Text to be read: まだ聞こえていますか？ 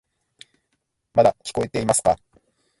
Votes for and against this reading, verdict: 1, 2, rejected